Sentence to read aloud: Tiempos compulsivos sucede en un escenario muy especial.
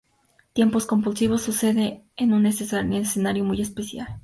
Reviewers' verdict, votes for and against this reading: rejected, 2, 2